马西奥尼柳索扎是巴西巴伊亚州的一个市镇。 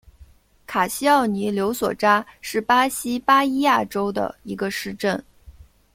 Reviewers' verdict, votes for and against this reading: rejected, 1, 2